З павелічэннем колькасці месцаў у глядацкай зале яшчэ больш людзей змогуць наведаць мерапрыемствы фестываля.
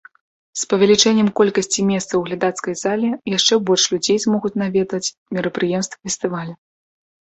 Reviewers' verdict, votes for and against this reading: accepted, 2, 0